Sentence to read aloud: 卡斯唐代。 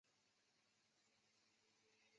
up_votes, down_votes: 2, 6